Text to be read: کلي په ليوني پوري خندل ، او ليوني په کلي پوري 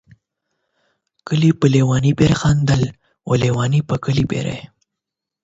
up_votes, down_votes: 8, 0